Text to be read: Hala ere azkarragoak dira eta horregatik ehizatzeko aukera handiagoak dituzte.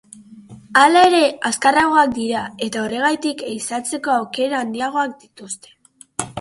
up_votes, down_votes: 1, 2